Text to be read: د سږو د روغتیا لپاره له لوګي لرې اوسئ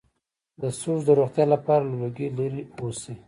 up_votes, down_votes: 1, 2